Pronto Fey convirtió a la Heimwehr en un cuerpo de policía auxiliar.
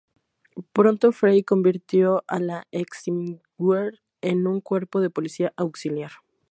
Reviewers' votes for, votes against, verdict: 2, 0, accepted